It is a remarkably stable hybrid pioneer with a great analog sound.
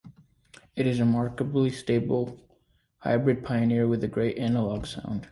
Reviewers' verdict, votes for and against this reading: rejected, 0, 2